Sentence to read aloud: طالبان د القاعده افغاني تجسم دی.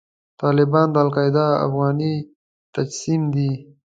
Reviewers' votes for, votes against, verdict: 2, 0, accepted